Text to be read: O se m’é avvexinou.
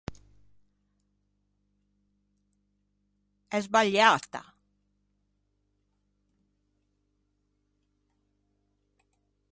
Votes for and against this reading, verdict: 0, 2, rejected